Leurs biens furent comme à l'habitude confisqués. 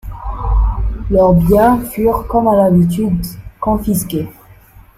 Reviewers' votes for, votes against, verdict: 0, 2, rejected